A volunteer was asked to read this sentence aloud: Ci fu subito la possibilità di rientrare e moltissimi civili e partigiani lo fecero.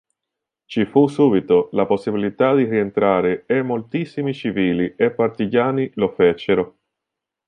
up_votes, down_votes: 2, 0